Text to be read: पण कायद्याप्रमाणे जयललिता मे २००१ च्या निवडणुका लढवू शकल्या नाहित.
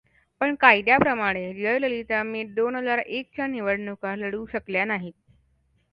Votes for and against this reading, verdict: 0, 2, rejected